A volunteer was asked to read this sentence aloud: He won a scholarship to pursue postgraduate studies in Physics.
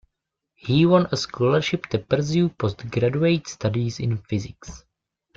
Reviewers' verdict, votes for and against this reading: rejected, 1, 2